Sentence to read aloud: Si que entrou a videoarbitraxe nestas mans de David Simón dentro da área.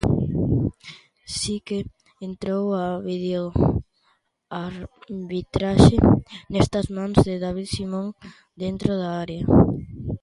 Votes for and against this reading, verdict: 1, 2, rejected